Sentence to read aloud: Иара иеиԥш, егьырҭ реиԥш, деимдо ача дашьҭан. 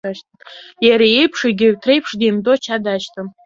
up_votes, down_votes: 2, 1